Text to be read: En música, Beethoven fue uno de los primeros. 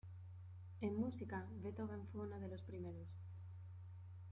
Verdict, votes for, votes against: accepted, 2, 0